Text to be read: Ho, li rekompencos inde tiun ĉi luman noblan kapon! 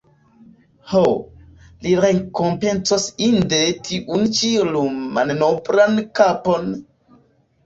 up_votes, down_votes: 1, 2